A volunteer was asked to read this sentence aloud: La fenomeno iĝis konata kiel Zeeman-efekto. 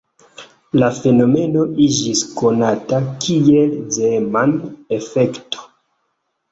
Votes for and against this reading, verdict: 2, 1, accepted